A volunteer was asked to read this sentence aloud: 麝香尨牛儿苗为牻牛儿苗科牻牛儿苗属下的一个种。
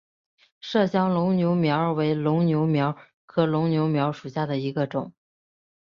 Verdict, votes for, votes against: rejected, 0, 3